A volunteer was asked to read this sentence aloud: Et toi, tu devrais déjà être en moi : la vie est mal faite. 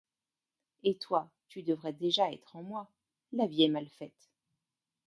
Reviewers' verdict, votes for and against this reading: accepted, 2, 0